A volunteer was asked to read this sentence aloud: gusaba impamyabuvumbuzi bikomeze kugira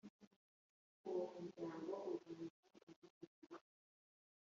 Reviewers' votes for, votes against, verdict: 1, 2, rejected